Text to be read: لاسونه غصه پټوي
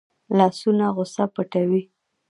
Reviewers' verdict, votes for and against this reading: accepted, 2, 0